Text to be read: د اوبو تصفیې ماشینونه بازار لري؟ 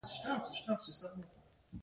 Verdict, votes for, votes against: accepted, 2, 1